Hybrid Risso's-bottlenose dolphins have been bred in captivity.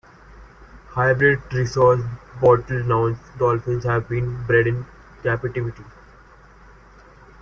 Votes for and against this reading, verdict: 0, 2, rejected